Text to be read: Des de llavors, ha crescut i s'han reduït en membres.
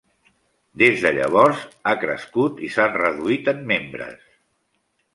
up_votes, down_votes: 2, 0